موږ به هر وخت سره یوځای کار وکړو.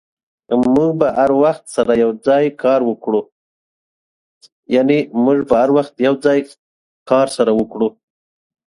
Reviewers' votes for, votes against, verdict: 8, 10, rejected